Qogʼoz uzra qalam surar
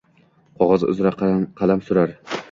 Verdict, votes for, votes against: rejected, 0, 2